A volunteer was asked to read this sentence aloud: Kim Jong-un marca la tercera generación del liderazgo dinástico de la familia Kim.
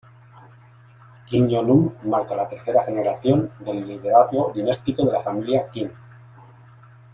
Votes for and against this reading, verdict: 2, 0, accepted